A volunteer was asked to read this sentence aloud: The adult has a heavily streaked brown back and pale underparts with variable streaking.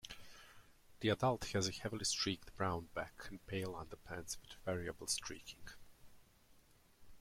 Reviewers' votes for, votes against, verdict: 0, 3, rejected